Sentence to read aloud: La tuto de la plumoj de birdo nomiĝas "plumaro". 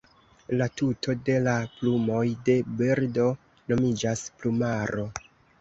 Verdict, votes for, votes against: accepted, 2, 1